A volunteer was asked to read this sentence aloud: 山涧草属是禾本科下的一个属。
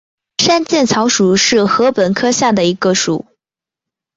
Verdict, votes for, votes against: accepted, 2, 0